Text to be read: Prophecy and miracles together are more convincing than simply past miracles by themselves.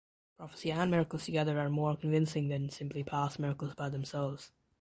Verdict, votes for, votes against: accepted, 2, 0